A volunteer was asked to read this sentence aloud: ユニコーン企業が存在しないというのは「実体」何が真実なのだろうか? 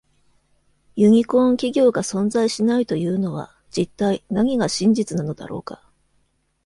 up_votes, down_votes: 2, 0